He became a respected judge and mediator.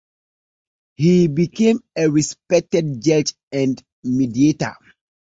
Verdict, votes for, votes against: accepted, 2, 1